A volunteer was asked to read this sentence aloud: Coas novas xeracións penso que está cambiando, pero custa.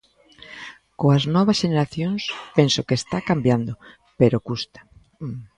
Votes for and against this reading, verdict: 0, 2, rejected